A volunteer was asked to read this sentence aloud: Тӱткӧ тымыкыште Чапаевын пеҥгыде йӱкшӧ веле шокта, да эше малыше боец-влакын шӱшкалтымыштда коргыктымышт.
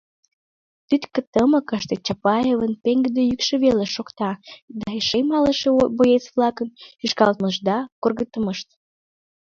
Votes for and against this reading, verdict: 0, 2, rejected